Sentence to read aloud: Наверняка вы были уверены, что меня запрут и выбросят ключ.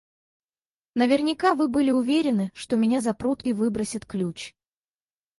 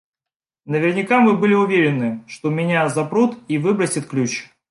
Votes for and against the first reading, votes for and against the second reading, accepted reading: 2, 2, 2, 0, second